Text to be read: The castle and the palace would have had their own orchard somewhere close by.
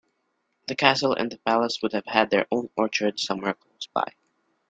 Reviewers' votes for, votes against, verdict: 2, 0, accepted